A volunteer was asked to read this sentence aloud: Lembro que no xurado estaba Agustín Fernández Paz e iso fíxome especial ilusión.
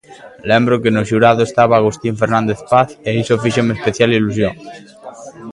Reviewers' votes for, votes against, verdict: 0, 2, rejected